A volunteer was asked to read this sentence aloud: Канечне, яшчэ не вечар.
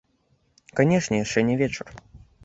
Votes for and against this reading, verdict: 2, 0, accepted